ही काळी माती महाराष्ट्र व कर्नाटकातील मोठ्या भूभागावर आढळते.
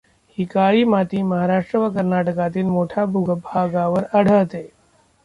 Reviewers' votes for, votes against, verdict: 0, 2, rejected